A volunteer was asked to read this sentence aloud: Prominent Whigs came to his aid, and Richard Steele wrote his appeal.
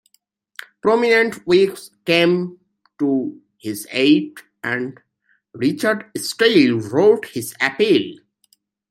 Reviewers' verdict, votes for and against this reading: accepted, 2, 0